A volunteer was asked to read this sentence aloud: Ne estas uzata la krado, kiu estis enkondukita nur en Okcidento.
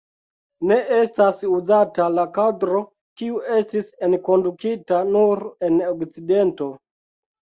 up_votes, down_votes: 2, 3